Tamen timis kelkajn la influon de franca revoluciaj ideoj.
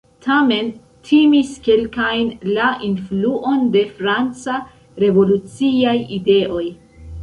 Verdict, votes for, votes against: accepted, 2, 0